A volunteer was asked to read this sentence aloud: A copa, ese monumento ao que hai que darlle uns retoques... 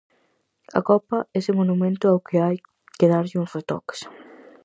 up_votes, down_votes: 4, 0